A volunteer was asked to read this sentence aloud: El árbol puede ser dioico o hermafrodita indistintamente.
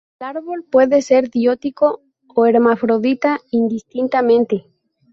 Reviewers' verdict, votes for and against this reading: accepted, 2, 0